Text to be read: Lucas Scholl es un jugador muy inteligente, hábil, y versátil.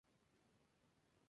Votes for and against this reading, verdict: 0, 2, rejected